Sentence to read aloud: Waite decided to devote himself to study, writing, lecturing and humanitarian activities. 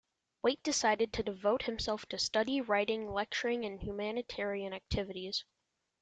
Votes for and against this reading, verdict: 2, 0, accepted